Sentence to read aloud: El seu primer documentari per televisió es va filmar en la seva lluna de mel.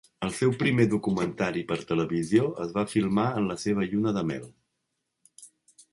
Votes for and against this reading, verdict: 4, 0, accepted